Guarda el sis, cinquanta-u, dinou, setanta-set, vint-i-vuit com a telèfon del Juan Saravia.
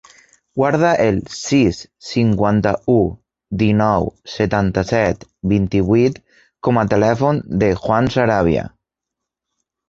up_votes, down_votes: 1, 2